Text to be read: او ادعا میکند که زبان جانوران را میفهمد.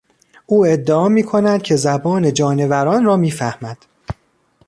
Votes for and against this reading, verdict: 2, 0, accepted